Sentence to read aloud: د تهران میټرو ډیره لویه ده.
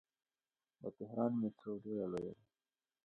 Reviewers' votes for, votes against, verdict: 0, 2, rejected